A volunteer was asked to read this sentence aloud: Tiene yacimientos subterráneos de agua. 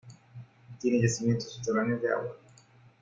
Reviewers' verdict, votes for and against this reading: accepted, 2, 0